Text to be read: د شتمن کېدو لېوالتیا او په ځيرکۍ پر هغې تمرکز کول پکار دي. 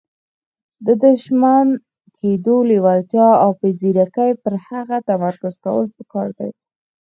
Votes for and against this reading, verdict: 4, 0, accepted